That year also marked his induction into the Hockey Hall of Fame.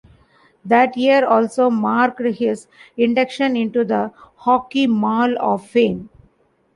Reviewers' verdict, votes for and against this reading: rejected, 1, 2